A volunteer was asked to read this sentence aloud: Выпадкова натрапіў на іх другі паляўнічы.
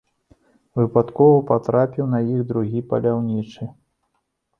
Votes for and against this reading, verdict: 0, 2, rejected